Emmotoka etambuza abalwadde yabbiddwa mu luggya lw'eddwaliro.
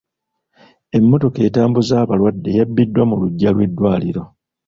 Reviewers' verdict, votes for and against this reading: accepted, 2, 1